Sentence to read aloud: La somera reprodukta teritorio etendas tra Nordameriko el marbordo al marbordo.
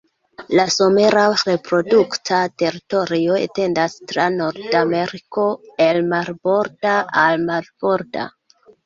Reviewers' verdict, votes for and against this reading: rejected, 1, 2